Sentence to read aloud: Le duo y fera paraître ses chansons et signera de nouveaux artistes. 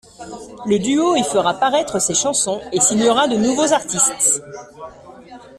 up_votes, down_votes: 2, 0